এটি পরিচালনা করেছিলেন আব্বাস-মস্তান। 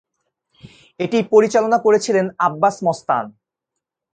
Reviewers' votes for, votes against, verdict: 7, 1, accepted